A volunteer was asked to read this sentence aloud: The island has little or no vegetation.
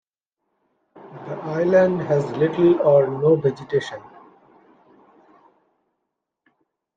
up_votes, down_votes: 2, 0